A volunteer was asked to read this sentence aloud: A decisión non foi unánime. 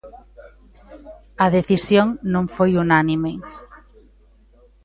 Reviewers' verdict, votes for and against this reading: accepted, 2, 0